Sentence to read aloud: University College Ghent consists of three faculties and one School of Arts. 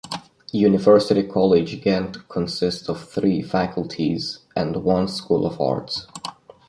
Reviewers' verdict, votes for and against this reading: accepted, 2, 0